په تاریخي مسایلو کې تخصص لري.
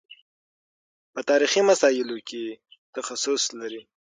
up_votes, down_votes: 6, 0